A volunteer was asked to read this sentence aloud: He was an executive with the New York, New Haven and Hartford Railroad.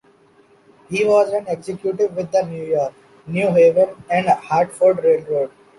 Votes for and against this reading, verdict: 1, 2, rejected